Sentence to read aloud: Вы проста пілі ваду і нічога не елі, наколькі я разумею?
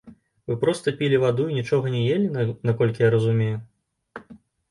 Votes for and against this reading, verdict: 1, 2, rejected